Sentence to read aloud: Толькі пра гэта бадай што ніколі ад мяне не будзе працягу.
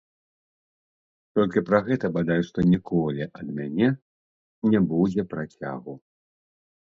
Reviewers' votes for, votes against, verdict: 0, 2, rejected